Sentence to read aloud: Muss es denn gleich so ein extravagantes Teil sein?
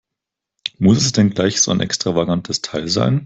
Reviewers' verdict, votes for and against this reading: accepted, 4, 0